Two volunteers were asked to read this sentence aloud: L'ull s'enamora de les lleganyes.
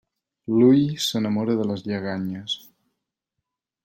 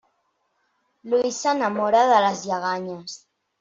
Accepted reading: first